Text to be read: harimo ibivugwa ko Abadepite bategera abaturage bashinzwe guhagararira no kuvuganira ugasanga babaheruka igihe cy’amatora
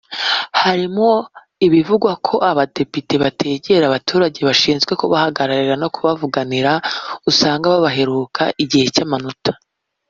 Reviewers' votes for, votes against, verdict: 1, 2, rejected